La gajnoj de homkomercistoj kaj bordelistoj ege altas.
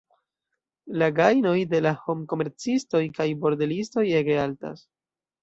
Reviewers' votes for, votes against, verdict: 2, 0, accepted